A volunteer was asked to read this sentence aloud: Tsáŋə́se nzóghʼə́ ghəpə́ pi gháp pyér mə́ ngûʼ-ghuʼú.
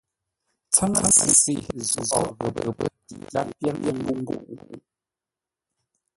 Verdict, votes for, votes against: rejected, 0, 2